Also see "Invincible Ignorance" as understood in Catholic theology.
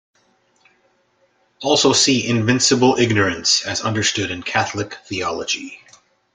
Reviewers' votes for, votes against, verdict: 2, 0, accepted